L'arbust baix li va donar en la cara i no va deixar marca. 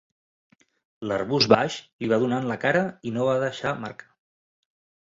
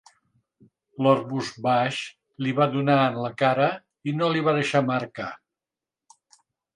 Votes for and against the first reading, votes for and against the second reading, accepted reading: 2, 1, 2, 3, first